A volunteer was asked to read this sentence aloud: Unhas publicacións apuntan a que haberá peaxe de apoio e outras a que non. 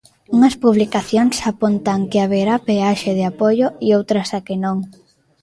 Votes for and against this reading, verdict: 0, 2, rejected